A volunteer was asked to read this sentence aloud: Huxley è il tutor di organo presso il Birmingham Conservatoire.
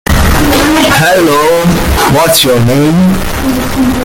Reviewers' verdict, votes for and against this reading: rejected, 0, 2